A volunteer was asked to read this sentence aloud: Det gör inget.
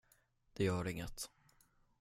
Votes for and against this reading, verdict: 10, 0, accepted